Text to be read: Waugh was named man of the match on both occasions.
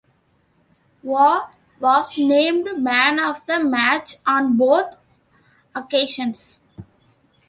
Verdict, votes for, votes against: accepted, 2, 0